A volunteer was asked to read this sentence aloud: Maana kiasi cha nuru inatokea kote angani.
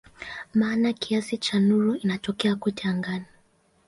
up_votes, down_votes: 2, 0